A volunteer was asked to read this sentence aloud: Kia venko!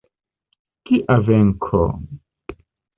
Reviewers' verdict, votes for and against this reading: accepted, 2, 0